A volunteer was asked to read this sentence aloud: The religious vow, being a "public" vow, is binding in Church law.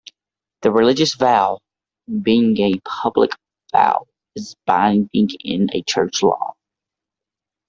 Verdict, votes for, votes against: rejected, 0, 2